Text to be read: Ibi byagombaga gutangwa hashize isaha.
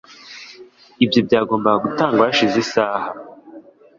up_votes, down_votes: 2, 0